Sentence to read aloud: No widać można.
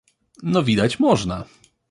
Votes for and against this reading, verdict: 2, 0, accepted